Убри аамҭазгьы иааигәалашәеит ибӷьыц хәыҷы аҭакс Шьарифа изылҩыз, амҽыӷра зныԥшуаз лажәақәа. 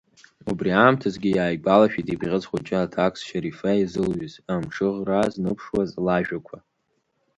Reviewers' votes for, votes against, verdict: 2, 0, accepted